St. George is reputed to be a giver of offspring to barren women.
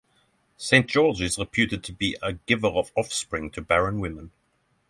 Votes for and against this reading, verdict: 3, 3, rejected